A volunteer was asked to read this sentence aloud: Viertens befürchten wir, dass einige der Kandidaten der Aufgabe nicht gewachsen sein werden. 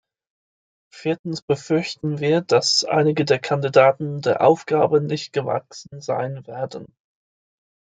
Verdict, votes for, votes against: accepted, 2, 0